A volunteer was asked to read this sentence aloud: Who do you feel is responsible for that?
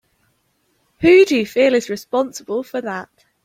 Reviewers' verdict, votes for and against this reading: accepted, 2, 1